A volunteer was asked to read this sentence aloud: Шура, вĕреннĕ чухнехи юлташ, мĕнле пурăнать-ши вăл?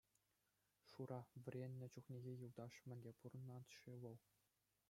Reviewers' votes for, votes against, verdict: 2, 0, accepted